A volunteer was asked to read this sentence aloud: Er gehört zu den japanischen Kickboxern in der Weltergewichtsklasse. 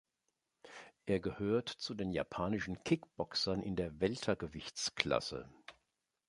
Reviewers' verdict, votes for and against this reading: accepted, 4, 0